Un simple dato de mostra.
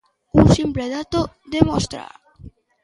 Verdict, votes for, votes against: accepted, 2, 0